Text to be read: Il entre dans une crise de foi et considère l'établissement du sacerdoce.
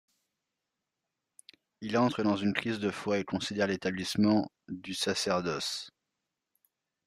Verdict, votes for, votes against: rejected, 0, 2